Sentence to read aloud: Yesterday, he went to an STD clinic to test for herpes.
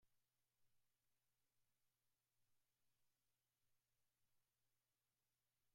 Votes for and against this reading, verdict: 0, 2, rejected